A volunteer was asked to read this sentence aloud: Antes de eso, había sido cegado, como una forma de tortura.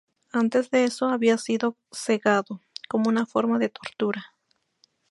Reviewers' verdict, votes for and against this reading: accepted, 2, 0